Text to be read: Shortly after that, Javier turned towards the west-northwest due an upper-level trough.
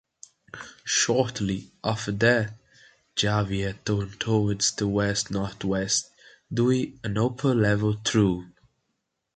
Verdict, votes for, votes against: accepted, 2, 1